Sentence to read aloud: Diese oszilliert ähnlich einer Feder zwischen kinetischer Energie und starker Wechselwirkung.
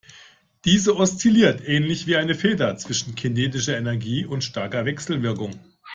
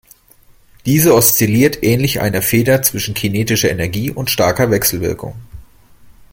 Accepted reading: second